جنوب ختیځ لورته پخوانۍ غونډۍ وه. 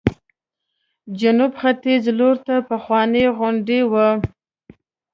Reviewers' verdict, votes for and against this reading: accepted, 2, 1